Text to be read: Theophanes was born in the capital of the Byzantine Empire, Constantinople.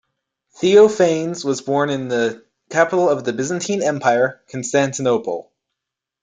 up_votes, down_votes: 2, 0